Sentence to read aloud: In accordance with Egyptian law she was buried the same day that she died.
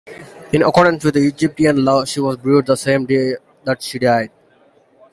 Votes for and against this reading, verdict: 1, 2, rejected